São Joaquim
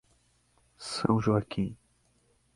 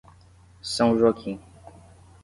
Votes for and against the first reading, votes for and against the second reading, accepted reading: 4, 0, 5, 5, first